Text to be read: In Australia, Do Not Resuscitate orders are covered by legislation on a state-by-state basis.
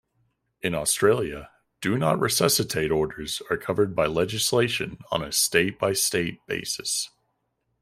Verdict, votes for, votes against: accepted, 2, 0